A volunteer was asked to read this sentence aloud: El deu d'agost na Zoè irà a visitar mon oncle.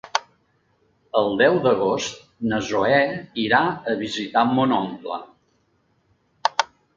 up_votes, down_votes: 2, 0